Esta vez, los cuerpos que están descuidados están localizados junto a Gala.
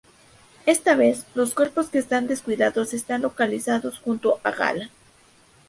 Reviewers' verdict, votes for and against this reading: accepted, 2, 0